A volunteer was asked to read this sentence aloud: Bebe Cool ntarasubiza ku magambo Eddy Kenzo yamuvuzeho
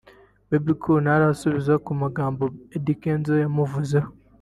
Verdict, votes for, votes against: rejected, 1, 2